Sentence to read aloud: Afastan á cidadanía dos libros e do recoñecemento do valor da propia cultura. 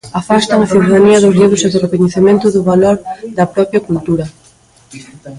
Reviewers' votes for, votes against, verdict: 2, 1, accepted